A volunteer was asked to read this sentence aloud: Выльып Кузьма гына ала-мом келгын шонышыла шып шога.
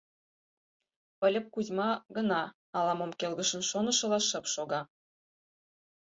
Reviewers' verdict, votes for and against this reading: rejected, 2, 4